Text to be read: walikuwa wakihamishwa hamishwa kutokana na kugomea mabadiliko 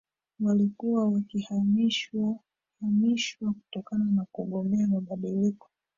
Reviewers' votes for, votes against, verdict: 0, 2, rejected